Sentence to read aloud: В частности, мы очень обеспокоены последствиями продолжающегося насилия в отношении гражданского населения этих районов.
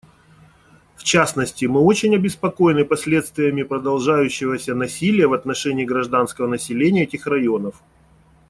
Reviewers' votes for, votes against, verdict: 2, 0, accepted